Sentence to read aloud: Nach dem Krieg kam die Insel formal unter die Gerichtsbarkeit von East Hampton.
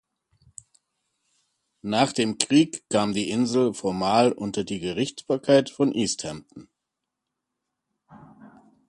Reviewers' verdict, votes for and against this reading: rejected, 1, 2